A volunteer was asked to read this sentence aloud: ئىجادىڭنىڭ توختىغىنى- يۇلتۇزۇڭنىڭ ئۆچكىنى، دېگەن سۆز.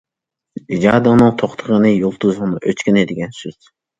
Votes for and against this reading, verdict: 2, 0, accepted